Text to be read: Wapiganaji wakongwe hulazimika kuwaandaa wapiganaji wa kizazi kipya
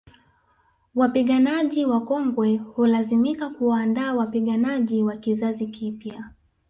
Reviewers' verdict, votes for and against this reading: accepted, 2, 0